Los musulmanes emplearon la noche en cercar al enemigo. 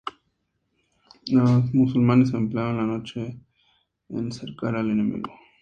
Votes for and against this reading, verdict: 0, 2, rejected